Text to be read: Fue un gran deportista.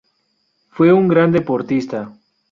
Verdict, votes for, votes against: accepted, 2, 0